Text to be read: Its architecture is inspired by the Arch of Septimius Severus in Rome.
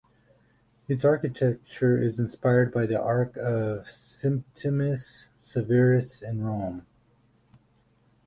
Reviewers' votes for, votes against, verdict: 4, 2, accepted